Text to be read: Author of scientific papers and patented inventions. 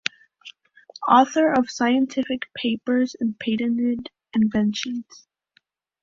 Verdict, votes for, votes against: accepted, 2, 0